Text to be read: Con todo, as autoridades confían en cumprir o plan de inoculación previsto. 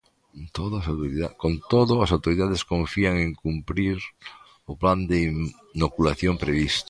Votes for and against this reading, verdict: 0, 2, rejected